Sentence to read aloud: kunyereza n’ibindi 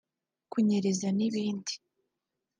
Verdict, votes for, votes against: accepted, 2, 0